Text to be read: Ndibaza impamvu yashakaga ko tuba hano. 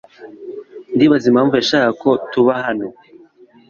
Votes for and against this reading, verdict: 2, 0, accepted